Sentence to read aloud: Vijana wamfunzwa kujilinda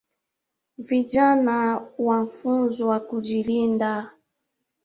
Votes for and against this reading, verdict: 2, 4, rejected